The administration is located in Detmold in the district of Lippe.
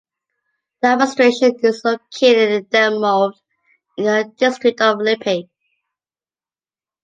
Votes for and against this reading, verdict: 2, 1, accepted